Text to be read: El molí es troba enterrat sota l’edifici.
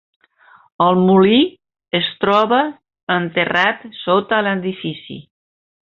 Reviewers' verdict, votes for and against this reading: rejected, 1, 2